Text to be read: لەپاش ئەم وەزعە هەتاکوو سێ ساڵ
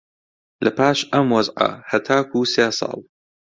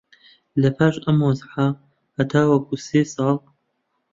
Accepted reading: first